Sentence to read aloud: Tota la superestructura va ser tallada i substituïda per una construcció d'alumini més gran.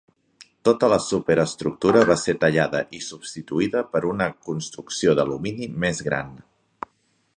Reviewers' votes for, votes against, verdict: 2, 0, accepted